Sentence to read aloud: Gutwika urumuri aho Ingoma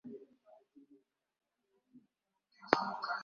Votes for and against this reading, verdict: 1, 2, rejected